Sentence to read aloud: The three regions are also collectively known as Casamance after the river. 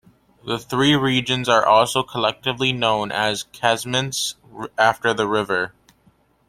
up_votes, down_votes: 1, 2